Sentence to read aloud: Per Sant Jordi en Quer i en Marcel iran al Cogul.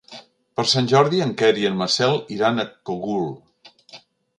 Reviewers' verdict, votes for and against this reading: rejected, 1, 2